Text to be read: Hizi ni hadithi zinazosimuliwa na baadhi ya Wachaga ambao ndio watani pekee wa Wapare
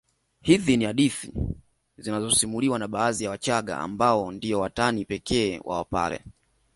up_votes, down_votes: 2, 0